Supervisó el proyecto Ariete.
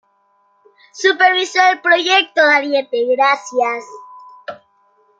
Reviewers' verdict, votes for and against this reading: rejected, 1, 2